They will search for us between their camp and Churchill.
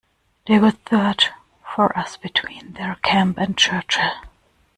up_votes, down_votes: 1, 2